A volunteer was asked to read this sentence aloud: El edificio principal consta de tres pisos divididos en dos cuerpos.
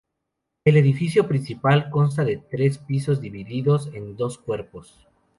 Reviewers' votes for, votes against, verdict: 2, 0, accepted